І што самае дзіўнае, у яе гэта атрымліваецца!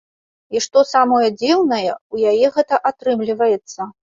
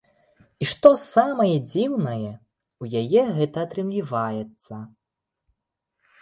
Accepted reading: first